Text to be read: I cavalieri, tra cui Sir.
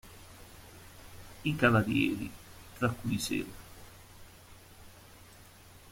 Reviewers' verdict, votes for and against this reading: rejected, 0, 2